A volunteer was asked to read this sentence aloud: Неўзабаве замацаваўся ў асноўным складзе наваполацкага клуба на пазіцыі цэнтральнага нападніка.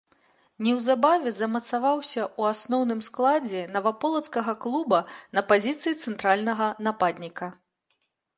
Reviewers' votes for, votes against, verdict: 2, 0, accepted